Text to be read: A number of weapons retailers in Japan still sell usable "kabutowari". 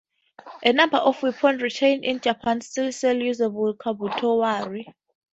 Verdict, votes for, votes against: rejected, 2, 4